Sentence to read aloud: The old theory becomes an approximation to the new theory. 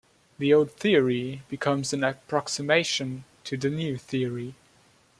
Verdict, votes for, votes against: accepted, 2, 0